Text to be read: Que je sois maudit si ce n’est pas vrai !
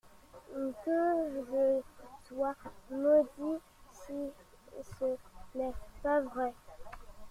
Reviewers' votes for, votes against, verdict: 1, 2, rejected